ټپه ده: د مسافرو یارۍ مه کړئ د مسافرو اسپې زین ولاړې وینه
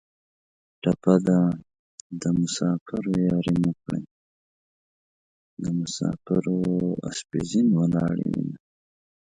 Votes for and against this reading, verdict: 1, 2, rejected